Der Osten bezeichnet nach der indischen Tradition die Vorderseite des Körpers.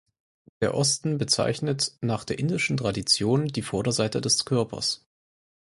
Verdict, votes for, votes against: accepted, 4, 0